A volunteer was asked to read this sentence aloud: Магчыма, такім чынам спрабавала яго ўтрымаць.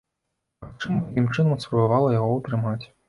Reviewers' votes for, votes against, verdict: 0, 2, rejected